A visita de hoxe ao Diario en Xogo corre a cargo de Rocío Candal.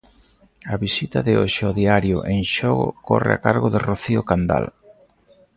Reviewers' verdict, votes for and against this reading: accepted, 3, 0